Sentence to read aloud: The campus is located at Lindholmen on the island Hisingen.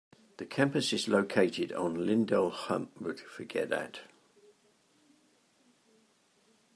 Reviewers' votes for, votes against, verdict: 0, 2, rejected